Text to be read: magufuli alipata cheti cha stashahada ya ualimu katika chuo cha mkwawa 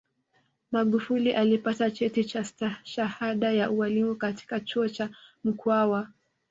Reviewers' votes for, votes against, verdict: 2, 1, accepted